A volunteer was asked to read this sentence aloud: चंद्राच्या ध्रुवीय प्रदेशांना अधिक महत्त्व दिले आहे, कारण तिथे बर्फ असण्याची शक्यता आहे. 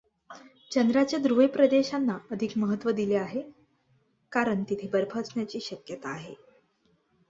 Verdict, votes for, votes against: accepted, 2, 0